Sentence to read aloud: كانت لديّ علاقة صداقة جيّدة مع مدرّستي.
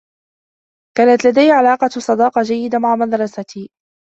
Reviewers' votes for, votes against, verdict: 0, 2, rejected